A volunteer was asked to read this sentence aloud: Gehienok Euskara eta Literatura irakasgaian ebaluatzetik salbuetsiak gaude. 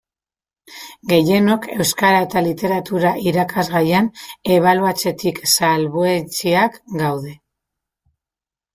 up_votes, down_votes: 2, 0